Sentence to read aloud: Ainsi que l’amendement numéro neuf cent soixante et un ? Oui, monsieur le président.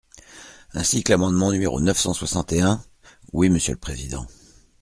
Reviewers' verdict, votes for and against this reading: accepted, 2, 0